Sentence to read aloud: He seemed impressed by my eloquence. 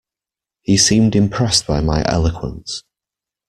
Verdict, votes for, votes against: accepted, 2, 0